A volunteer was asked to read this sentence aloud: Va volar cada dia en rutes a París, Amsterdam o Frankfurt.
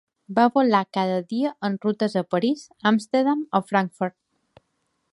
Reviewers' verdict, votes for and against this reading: accepted, 2, 0